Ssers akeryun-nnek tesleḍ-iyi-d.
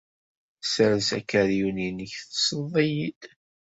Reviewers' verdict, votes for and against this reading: accepted, 2, 0